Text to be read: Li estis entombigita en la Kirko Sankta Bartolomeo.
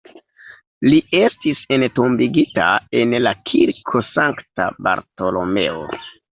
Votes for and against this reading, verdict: 1, 2, rejected